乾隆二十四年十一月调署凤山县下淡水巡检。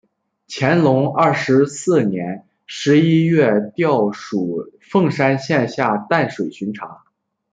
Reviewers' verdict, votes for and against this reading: rejected, 0, 2